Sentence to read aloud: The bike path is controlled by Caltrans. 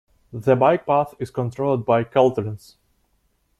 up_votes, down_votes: 2, 0